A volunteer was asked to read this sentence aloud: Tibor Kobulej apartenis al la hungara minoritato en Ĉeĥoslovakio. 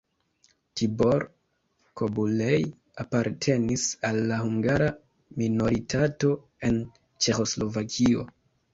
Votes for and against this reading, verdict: 0, 2, rejected